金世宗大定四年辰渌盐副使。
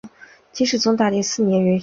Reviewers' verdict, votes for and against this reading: rejected, 0, 3